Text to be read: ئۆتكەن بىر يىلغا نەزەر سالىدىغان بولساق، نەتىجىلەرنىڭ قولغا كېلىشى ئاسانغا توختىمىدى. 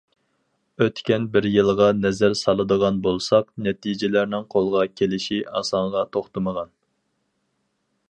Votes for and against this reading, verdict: 2, 4, rejected